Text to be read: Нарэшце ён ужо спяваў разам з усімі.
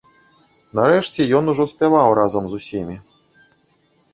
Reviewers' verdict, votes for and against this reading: rejected, 0, 2